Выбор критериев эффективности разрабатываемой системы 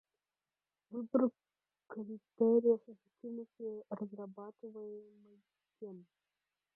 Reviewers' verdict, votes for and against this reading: accepted, 2, 0